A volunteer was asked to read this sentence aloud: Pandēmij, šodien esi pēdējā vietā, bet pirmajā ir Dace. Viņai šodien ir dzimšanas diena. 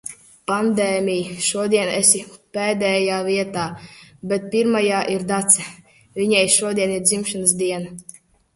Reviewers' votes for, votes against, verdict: 2, 0, accepted